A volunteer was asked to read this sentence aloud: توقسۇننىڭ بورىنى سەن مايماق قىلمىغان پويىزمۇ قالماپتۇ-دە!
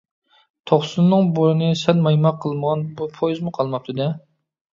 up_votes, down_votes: 0, 2